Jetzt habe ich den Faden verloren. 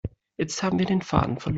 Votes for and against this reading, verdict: 0, 2, rejected